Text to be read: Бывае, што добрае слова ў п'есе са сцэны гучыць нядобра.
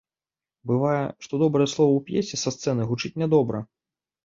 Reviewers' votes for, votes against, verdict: 2, 0, accepted